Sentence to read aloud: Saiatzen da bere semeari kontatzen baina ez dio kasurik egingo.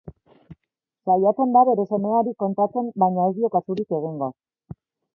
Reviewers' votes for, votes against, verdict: 2, 0, accepted